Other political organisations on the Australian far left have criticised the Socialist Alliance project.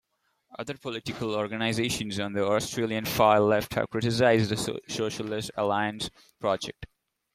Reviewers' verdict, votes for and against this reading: rejected, 1, 2